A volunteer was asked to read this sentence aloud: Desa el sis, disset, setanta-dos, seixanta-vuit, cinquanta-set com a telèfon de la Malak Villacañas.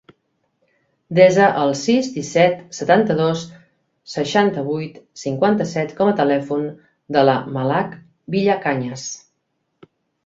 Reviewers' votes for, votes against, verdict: 3, 0, accepted